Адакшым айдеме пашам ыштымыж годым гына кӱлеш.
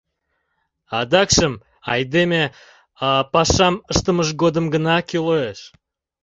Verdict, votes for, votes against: rejected, 0, 2